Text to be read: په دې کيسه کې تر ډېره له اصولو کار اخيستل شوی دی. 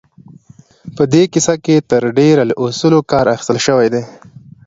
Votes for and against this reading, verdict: 2, 0, accepted